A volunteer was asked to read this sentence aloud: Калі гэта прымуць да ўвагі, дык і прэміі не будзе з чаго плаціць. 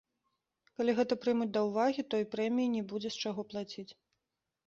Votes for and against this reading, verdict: 2, 0, accepted